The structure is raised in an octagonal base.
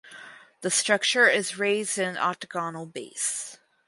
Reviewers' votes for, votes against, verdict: 2, 2, rejected